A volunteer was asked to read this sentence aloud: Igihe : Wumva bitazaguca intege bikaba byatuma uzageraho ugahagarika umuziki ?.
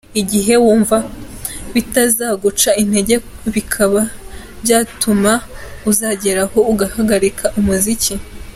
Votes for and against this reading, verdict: 2, 0, accepted